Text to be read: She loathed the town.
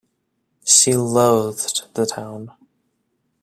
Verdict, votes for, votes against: accepted, 2, 0